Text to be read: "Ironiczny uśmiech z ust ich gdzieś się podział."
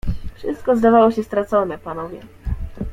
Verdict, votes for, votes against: rejected, 0, 2